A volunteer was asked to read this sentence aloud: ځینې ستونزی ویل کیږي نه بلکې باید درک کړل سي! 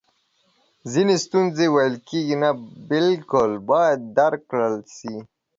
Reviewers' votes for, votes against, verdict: 0, 2, rejected